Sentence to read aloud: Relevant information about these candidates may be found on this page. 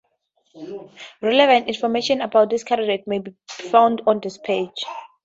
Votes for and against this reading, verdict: 2, 2, rejected